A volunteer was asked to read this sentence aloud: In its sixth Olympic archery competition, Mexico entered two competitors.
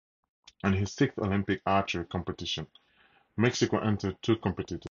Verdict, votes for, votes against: rejected, 0, 2